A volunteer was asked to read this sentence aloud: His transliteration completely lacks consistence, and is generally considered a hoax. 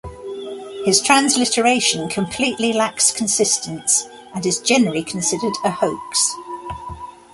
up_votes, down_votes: 0, 2